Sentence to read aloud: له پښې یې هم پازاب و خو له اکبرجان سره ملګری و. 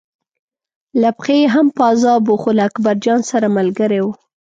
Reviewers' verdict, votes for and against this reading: accepted, 2, 0